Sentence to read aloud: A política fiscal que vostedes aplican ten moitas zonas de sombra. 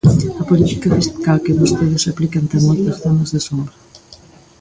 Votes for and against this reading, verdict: 1, 2, rejected